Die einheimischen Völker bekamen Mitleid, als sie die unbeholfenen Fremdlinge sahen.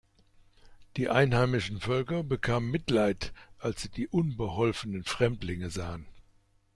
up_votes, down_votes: 2, 0